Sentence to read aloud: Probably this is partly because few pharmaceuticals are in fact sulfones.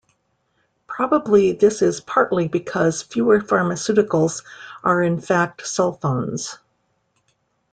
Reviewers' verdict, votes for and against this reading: rejected, 1, 2